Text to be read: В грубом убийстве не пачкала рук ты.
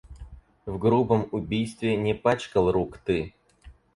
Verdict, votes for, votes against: rejected, 2, 4